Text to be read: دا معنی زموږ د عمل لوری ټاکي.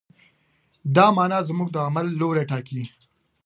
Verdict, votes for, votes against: accepted, 2, 0